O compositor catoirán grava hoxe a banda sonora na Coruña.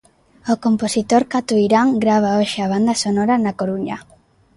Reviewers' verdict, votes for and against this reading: accepted, 2, 0